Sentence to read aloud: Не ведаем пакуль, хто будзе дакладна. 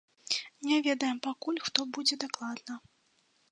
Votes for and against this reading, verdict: 2, 0, accepted